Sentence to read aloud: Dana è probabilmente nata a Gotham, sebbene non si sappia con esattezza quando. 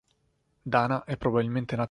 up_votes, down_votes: 1, 3